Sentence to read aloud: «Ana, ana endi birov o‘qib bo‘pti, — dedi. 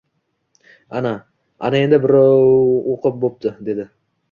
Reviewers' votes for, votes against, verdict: 1, 2, rejected